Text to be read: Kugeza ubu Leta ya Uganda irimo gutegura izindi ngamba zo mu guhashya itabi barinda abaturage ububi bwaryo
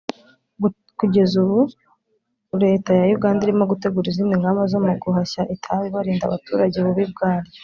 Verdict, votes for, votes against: rejected, 1, 2